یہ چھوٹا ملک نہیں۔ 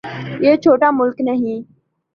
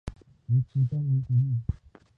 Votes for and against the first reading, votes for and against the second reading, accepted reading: 2, 0, 0, 2, first